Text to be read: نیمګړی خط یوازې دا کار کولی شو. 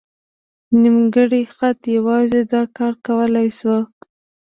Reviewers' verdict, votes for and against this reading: accepted, 2, 1